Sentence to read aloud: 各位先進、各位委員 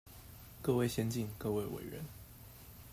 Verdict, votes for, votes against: accepted, 2, 0